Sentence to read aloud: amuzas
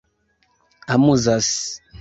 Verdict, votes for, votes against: accepted, 2, 0